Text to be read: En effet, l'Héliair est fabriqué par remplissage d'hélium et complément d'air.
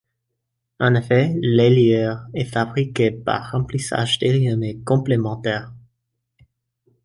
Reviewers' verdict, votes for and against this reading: accepted, 2, 0